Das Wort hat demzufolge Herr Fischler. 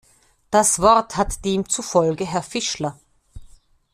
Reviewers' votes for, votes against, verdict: 2, 0, accepted